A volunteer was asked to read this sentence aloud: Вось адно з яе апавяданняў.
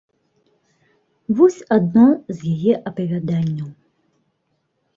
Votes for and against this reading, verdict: 0, 2, rejected